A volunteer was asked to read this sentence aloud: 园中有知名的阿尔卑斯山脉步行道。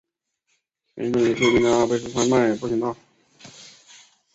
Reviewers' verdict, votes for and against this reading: rejected, 0, 2